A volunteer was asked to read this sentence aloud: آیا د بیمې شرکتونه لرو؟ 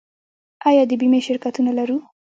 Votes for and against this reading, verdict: 1, 2, rejected